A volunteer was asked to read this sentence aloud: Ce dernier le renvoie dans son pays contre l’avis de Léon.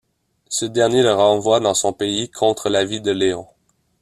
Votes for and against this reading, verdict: 2, 0, accepted